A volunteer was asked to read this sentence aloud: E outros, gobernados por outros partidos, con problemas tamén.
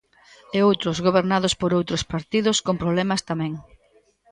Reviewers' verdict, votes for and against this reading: accepted, 2, 0